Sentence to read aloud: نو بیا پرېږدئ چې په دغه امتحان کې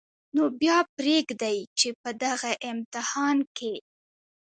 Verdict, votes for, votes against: rejected, 0, 2